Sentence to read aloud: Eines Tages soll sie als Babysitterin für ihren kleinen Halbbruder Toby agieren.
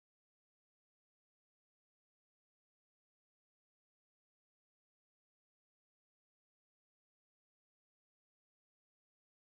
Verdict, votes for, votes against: rejected, 0, 2